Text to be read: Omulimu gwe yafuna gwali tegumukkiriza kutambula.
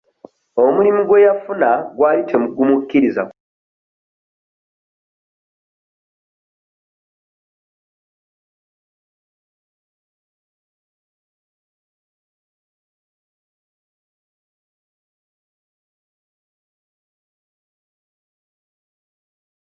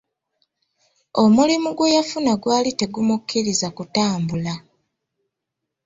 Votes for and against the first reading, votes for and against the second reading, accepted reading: 1, 2, 2, 0, second